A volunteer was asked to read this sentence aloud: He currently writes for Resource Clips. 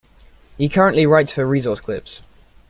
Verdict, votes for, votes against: accepted, 2, 0